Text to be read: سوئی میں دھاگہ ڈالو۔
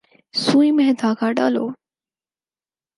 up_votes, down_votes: 4, 0